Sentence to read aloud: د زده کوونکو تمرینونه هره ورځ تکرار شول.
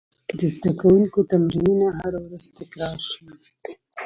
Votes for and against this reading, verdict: 2, 0, accepted